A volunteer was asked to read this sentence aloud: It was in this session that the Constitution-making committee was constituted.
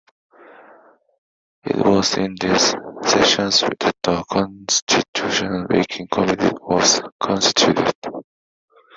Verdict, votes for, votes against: accepted, 3, 2